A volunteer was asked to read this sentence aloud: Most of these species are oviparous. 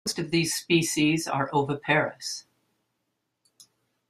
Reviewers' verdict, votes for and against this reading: accepted, 2, 1